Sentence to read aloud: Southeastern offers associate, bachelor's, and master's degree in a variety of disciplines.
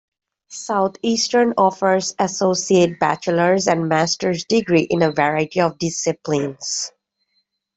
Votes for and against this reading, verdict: 2, 0, accepted